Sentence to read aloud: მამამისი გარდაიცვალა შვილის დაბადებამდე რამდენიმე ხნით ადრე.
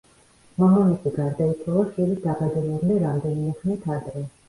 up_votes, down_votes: 1, 2